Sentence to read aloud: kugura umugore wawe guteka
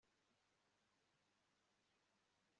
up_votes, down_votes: 1, 3